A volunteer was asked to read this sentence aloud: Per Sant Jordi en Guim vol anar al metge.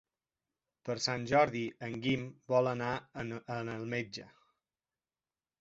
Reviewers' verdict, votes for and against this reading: rejected, 0, 3